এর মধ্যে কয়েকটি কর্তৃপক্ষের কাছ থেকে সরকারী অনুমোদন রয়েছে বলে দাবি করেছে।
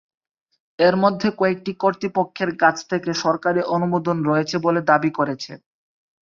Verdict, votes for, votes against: accepted, 3, 0